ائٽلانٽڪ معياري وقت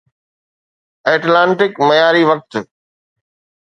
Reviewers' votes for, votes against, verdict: 2, 0, accepted